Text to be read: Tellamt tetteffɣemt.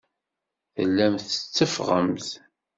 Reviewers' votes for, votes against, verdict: 2, 0, accepted